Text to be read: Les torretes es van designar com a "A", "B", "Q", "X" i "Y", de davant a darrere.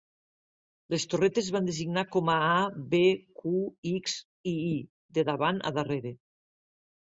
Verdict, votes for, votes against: rejected, 0, 2